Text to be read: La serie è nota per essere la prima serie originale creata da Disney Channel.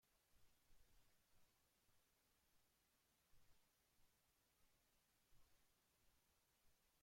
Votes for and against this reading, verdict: 0, 2, rejected